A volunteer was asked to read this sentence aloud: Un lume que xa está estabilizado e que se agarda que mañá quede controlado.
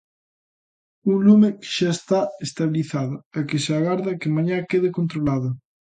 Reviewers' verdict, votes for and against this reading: accepted, 2, 0